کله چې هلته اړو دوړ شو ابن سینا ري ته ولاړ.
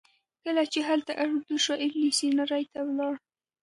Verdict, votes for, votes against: rejected, 1, 2